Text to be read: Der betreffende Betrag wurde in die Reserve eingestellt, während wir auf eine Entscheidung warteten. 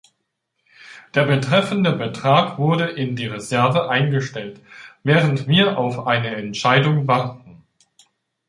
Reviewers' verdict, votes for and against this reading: rejected, 0, 2